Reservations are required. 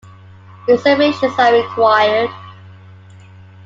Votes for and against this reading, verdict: 1, 2, rejected